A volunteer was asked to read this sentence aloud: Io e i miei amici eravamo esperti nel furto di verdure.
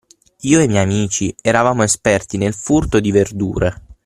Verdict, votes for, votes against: accepted, 9, 0